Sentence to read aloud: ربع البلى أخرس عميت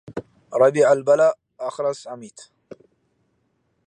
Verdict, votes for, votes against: rejected, 0, 2